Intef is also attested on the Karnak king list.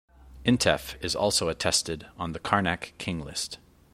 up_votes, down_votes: 2, 0